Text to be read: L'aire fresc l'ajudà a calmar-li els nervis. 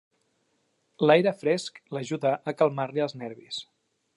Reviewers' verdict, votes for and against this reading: accepted, 2, 0